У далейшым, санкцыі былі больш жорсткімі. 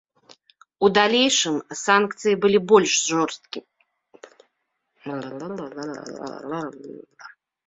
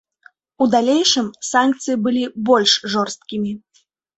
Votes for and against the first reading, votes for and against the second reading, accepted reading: 0, 2, 2, 0, second